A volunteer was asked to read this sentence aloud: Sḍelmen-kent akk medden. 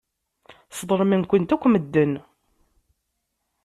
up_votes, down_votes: 2, 0